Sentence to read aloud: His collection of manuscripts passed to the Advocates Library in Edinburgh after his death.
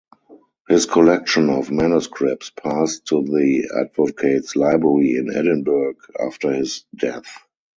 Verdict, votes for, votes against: rejected, 2, 2